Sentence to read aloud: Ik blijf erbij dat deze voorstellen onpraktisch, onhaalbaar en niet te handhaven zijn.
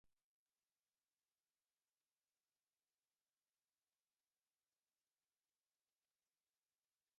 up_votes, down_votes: 0, 2